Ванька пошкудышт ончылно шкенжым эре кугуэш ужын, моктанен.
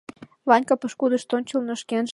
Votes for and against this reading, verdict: 0, 2, rejected